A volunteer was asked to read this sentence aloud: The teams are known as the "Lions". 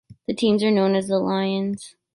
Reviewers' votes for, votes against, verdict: 3, 0, accepted